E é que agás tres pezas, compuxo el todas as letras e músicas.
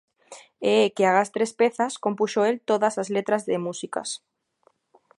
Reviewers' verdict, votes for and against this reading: rejected, 1, 2